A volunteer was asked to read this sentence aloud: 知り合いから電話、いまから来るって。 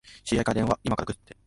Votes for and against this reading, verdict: 2, 0, accepted